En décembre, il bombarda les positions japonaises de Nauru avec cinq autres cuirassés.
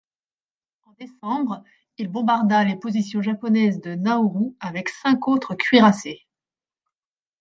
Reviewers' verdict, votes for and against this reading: rejected, 1, 2